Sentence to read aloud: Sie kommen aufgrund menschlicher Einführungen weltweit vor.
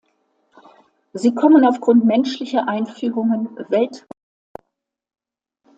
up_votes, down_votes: 0, 2